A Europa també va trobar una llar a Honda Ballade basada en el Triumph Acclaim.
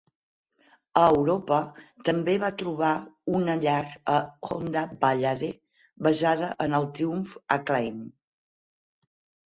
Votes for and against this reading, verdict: 4, 0, accepted